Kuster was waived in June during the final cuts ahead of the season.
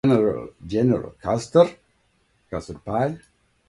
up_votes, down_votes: 0, 2